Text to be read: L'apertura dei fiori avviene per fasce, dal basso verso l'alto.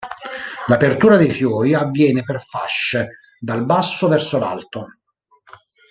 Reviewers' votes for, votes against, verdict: 2, 0, accepted